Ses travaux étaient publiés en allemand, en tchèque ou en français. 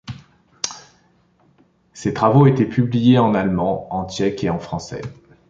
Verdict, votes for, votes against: rejected, 1, 2